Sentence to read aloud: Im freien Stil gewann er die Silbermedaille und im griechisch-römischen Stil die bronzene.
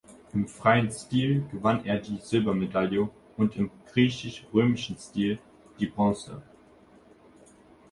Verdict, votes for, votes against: rejected, 1, 2